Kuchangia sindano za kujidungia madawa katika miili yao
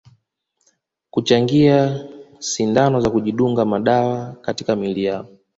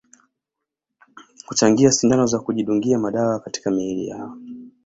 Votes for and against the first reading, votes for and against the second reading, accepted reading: 1, 2, 2, 0, second